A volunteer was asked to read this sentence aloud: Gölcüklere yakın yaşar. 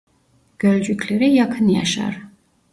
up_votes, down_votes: 2, 0